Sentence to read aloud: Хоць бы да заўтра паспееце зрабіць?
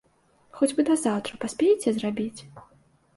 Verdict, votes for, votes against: accepted, 2, 0